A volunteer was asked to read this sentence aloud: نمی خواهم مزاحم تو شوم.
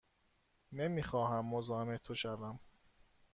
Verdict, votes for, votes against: accepted, 2, 0